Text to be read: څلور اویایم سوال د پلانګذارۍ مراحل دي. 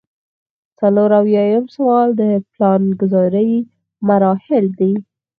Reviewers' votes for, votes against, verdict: 2, 4, rejected